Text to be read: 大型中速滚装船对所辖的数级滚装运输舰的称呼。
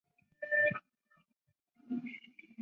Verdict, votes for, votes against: rejected, 2, 5